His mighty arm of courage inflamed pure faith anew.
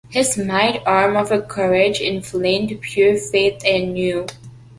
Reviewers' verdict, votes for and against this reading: accepted, 2, 1